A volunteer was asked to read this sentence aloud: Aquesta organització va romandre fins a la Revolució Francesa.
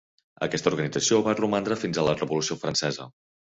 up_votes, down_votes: 3, 0